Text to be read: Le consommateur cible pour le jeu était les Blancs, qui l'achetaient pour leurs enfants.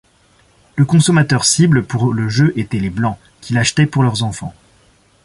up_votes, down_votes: 2, 0